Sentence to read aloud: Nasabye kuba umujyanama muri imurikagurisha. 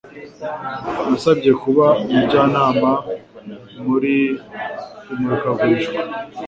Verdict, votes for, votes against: accepted, 2, 1